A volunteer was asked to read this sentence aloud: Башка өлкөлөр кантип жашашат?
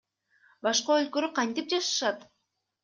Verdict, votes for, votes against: rejected, 1, 2